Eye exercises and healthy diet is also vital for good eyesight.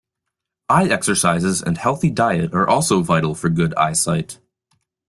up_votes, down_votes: 1, 2